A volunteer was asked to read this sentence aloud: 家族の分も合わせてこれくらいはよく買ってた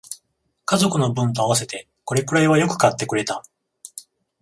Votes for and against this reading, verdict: 0, 14, rejected